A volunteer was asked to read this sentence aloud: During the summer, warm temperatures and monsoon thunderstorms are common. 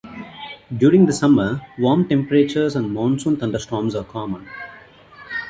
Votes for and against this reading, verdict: 0, 2, rejected